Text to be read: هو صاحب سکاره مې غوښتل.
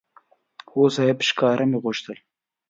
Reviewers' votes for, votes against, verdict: 2, 1, accepted